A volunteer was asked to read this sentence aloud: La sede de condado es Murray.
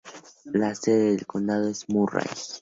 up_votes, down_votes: 0, 2